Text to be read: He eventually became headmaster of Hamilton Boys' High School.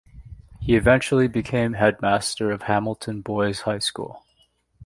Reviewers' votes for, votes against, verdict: 2, 0, accepted